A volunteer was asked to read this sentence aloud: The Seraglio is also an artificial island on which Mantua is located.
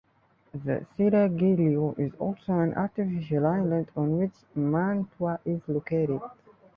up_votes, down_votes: 3, 0